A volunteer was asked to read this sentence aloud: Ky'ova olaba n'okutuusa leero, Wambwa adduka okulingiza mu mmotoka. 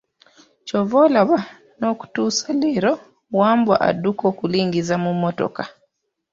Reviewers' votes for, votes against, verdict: 2, 0, accepted